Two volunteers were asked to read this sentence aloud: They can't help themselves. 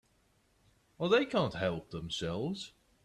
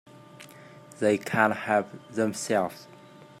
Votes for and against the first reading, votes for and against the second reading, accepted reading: 0, 2, 2, 0, second